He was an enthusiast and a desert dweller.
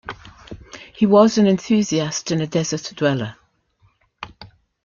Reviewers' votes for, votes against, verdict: 2, 0, accepted